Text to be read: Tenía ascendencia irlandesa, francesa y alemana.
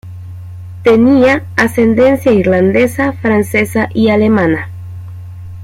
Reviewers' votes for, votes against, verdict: 2, 1, accepted